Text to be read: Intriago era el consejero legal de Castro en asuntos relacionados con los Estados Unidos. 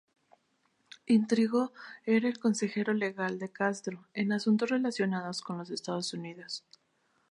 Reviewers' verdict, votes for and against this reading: rejected, 0, 4